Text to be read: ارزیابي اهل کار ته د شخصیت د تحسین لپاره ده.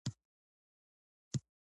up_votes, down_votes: 0, 2